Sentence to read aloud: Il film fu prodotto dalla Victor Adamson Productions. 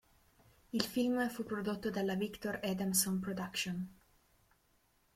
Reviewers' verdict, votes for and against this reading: accepted, 2, 0